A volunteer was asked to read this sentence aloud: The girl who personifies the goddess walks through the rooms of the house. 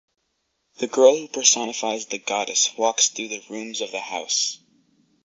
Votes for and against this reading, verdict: 4, 0, accepted